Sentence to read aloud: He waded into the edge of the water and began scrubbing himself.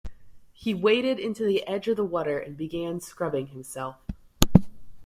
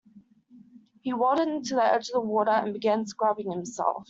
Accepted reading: first